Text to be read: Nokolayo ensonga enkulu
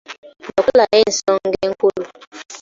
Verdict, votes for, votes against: rejected, 0, 2